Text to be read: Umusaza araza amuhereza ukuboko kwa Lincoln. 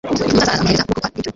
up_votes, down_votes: 0, 2